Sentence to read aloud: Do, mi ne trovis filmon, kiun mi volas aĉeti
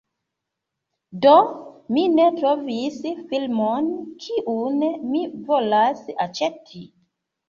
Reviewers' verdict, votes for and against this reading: accepted, 2, 0